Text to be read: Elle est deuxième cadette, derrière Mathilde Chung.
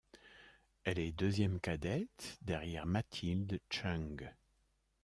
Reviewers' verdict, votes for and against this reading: accepted, 2, 0